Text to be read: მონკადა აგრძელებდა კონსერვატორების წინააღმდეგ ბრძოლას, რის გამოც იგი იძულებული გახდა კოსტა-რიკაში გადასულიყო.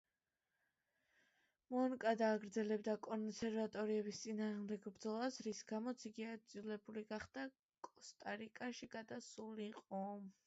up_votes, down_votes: 2, 1